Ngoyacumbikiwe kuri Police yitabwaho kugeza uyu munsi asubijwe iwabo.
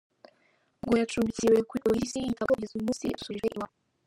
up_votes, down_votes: 0, 3